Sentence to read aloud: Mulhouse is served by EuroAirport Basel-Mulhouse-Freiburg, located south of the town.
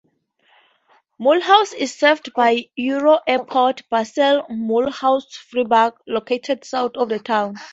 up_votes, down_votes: 4, 0